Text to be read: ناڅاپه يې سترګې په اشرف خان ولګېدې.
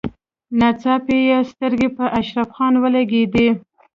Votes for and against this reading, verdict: 0, 2, rejected